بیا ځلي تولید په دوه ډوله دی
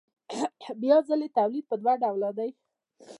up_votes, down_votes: 2, 0